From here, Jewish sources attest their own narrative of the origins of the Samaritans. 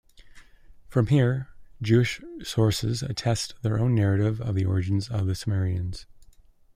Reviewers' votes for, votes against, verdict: 1, 2, rejected